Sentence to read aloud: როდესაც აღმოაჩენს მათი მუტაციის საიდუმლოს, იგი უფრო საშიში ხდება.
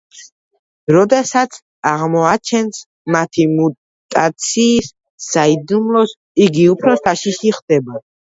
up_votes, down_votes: 1, 2